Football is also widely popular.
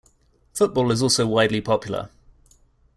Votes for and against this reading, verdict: 2, 0, accepted